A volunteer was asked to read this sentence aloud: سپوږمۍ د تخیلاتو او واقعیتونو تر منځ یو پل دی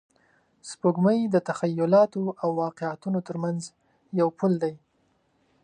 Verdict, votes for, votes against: accepted, 2, 0